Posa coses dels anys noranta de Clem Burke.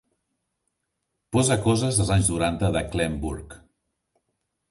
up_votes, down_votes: 0, 2